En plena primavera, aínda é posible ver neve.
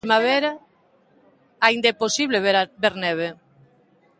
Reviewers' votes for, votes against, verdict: 0, 2, rejected